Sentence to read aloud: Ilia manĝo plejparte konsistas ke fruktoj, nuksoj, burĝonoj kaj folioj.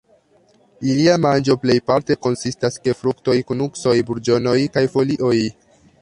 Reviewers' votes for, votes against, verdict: 1, 2, rejected